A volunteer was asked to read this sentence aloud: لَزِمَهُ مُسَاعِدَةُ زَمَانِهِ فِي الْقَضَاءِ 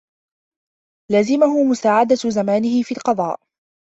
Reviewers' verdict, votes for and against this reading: accepted, 2, 0